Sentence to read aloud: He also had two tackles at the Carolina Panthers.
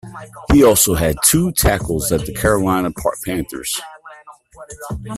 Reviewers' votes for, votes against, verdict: 0, 2, rejected